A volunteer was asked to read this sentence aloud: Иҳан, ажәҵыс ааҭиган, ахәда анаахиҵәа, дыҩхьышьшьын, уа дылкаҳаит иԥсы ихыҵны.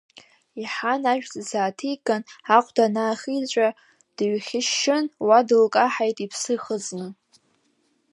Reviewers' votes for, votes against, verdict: 0, 2, rejected